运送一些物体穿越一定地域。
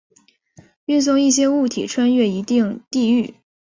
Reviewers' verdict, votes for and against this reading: accepted, 3, 0